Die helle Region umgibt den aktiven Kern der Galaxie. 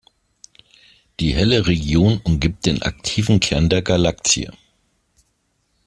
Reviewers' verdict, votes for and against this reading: rejected, 0, 2